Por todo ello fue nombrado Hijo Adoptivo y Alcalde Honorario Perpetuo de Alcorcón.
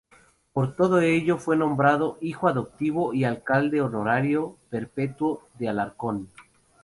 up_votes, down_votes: 0, 2